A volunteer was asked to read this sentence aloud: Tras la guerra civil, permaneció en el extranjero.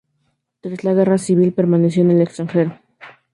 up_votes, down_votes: 2, 0